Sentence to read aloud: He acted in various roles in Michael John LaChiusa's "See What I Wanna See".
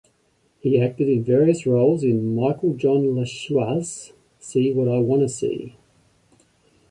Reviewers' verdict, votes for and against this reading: accepted, 2, 0